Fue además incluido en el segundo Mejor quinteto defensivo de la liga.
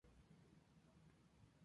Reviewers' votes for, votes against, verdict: 0, 2, rejected